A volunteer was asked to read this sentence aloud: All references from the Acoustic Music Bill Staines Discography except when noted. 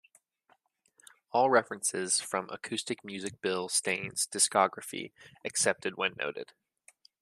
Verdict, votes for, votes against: rejected, 1, 2